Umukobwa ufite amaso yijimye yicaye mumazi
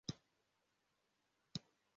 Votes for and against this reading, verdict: 0, 2, rejected